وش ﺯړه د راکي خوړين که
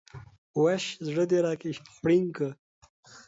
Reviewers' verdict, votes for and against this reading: accepted, 2, 0